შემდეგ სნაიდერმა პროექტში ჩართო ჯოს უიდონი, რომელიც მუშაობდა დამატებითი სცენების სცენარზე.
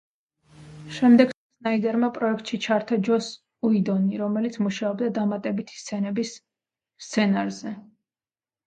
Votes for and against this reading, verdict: 2, 1, accepted